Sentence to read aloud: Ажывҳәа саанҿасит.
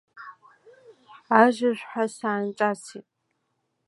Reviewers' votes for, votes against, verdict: 2, 0, accepted